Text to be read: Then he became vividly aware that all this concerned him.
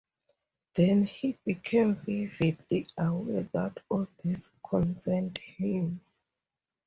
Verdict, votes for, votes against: accepted, 4, 0